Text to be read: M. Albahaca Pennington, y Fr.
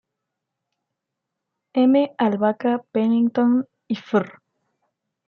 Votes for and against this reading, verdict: 1, 2, rejected